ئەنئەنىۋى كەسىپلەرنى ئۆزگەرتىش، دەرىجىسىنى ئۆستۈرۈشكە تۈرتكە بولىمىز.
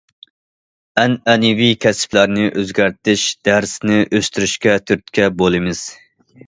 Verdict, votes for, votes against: rejected, 0, 2